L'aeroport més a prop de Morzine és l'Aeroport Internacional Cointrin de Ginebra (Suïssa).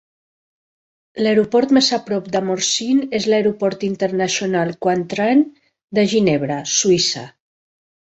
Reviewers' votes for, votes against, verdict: 4, 0, accepted